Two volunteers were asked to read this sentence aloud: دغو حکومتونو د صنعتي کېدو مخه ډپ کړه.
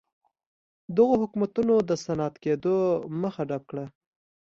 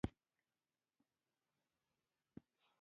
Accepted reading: first